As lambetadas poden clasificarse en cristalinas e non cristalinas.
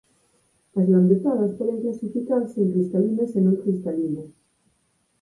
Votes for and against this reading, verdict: 2, 4, rejected